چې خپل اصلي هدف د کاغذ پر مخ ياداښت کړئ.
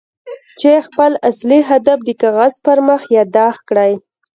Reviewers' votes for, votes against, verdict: 2, 1, accepted